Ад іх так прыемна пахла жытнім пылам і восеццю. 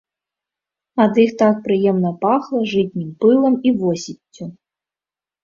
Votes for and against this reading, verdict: 2, 0, accepted